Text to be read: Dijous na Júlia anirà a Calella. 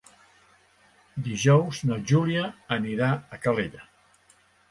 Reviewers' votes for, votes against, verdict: 2, 0, accepted